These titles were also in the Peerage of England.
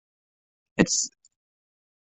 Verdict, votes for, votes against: rejected, 0, 2